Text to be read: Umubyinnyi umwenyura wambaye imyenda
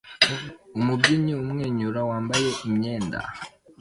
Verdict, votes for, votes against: accepted, 2, 0